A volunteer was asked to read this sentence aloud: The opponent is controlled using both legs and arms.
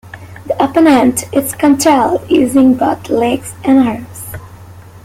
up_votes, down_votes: 0, 2